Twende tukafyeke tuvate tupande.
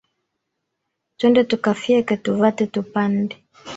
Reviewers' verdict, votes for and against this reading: accepted, 2, 0